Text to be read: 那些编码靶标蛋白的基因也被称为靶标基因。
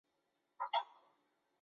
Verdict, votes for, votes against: rejected, 1, 2